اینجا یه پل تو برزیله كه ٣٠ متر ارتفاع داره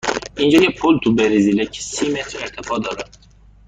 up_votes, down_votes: 0, 2